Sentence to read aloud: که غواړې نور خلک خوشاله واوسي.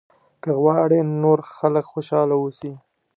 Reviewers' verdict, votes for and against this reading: accepted, 2, 0